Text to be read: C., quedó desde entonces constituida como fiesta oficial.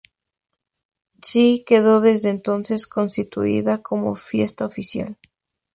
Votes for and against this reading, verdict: 2, 0, accepted